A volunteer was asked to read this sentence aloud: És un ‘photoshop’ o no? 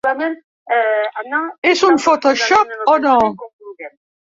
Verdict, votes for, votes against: rejected, 0, 2